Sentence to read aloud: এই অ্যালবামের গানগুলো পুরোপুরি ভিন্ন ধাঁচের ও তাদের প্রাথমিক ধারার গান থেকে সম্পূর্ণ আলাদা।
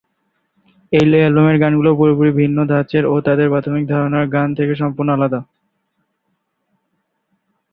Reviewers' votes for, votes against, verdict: 0, 2, rejected